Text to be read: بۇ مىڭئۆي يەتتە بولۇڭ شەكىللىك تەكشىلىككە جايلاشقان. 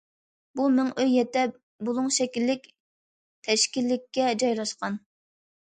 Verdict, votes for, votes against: rejected, 0, 2